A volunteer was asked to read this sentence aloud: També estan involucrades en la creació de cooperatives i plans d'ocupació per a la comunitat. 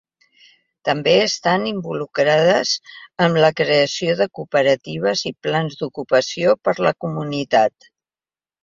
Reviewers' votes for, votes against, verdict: 2, 0, accepted